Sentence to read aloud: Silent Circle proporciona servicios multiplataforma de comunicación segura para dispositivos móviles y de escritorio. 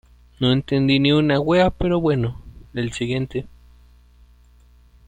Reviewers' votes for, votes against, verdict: 0, 2, rejected